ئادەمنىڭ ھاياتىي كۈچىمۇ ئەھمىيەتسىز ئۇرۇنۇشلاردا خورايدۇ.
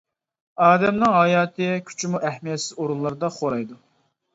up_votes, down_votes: 0, 2